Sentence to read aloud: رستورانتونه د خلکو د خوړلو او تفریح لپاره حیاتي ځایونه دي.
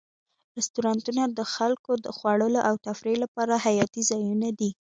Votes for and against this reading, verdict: 2, 1, accepted